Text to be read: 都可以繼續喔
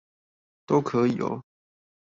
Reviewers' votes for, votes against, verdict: 0, 2, rejected